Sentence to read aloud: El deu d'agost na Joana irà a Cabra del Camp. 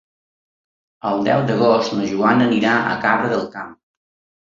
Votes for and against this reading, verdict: 0, 2, rejected